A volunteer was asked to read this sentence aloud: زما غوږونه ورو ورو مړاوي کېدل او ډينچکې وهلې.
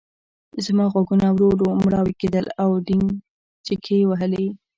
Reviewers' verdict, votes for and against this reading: rejected, 1, 2